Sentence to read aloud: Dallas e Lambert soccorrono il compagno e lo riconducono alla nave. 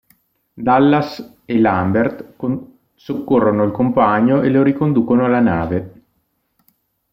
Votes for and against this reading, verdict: 0, 2, rejected